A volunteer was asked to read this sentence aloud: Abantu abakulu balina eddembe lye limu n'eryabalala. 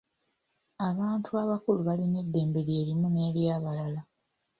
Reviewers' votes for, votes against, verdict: 2, 1, accepted